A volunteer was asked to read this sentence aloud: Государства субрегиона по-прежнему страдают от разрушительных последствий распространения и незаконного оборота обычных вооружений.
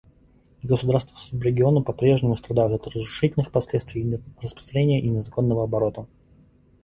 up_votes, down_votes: 0, 2